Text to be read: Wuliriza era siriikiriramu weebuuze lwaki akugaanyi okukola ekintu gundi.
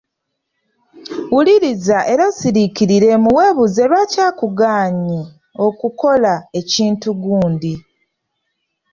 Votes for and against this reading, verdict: 0, 2, rejected